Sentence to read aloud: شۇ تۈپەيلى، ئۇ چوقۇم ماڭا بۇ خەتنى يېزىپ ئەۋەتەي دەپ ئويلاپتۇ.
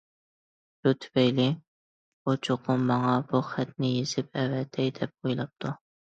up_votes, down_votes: 2, 0